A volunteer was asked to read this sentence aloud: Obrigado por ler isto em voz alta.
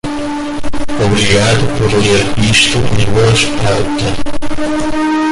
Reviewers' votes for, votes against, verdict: 0, 2, rejected